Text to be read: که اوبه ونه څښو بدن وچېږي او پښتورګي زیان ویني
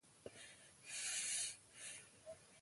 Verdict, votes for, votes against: rejected, 1, 2